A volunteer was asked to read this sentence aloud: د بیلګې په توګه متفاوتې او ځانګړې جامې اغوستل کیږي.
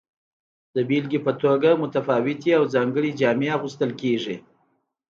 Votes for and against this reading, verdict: 2, 0, accepted